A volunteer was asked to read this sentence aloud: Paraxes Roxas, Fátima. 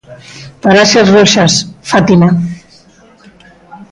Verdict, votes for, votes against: rejected, 0, 2